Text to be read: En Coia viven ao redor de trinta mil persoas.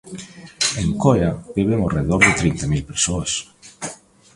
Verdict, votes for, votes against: rejected, 1, 2